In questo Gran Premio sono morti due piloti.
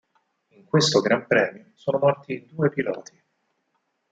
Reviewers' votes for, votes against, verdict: 4, 6, rejected